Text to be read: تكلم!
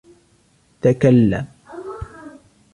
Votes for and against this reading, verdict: 2, 0, accepted